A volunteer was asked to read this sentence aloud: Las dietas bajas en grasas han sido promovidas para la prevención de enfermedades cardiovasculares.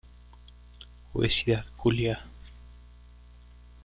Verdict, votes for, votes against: rejected, 0, 2